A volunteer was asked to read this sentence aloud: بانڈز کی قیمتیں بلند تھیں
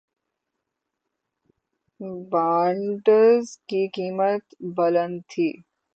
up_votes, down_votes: 18, 12